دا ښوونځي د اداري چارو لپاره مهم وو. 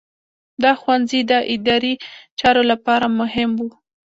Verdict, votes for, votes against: accepted, 2, 0